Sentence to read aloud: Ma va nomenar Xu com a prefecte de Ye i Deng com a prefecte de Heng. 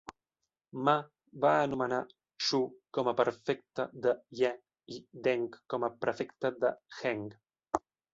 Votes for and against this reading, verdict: 1, 2, rejected